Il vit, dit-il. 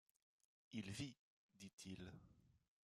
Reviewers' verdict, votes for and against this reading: accepted, 2, 0